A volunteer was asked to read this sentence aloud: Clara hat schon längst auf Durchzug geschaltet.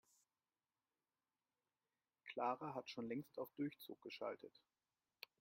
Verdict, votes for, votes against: accepted, 2, 0